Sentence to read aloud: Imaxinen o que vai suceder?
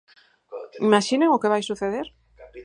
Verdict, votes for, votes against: accepted, 4, 0